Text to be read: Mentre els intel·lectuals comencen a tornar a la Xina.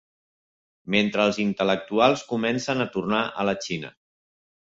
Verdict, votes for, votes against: accepted, 2, 0